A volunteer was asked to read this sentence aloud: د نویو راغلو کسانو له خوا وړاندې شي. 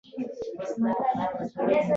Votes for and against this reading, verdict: 0, 2, rejected